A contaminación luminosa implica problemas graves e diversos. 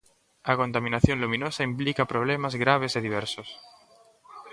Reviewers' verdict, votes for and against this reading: accepted, 2, 0